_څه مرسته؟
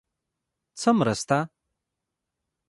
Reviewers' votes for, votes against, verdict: 0, 2, rejected